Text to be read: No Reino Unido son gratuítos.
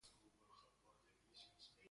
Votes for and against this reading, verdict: 0, 2, rejected